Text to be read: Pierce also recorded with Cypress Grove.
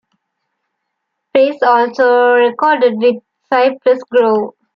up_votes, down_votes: 2, 0